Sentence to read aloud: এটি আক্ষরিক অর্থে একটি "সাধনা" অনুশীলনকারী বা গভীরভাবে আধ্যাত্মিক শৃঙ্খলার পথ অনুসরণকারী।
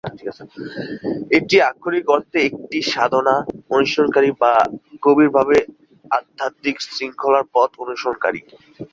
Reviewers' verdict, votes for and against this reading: accepted, 5, 0